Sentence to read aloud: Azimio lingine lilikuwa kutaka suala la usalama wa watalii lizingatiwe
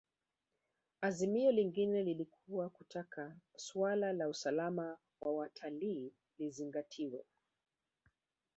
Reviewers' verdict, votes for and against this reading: accepted, 2, 0